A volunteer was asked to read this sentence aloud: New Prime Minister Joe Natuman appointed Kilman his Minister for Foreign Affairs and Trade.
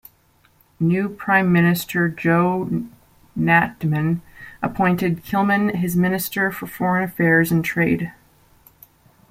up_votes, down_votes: 2, 1